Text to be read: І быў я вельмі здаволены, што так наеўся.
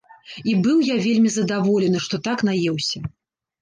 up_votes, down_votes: 1, 2